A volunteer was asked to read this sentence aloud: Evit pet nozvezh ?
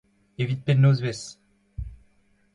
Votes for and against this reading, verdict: 2, 0, accepted